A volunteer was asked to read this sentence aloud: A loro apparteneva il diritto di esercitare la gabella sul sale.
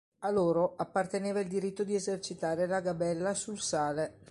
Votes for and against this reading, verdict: 2, 0, accepted